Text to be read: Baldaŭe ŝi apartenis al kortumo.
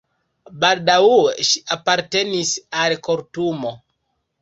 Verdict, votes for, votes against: rejected, 1, 2